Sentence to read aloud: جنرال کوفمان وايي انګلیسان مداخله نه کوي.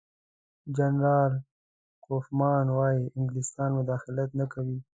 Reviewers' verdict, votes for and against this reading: rejected, 1, 2